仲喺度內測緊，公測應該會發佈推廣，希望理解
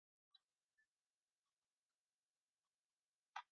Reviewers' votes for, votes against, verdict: 2, 2, rejected